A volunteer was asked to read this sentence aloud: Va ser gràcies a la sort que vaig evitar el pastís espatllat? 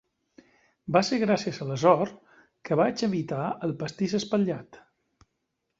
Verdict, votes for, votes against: accepted, 2, 0